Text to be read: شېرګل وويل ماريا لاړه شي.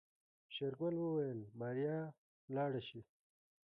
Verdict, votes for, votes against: rejected, 1, 2